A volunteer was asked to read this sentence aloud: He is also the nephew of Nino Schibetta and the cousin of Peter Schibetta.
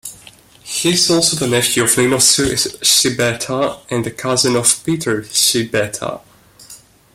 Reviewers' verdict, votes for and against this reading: rejected, 1, 2